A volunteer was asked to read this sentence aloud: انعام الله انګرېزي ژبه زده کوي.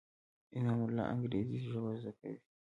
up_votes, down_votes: 0, 2